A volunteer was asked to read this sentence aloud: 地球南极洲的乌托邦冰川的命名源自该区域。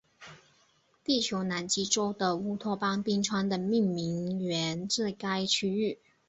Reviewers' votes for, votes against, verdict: 8, 0, accepted